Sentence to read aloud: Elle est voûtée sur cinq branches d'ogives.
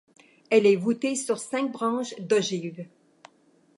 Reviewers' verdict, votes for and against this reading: accepted, 2, 0